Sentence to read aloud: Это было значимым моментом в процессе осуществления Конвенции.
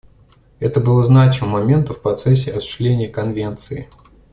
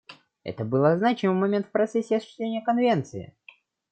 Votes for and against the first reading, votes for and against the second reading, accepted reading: 2, 0, 0, 2, first